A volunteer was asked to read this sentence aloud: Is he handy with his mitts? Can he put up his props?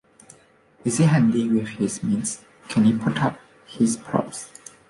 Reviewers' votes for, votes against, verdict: 1, 2, rejected